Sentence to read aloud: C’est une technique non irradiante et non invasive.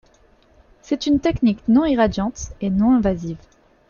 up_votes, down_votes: 1, 2